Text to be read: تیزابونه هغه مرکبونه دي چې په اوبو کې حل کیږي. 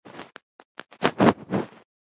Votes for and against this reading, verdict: 1, 2, rejected